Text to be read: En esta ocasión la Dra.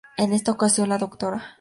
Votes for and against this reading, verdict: 2, 0, accepted